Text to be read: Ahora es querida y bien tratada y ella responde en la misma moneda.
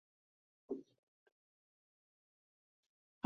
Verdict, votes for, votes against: rejected, 0, 4